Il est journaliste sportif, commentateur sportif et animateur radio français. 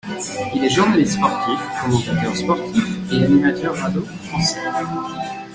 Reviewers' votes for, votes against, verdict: 1, 2, rejected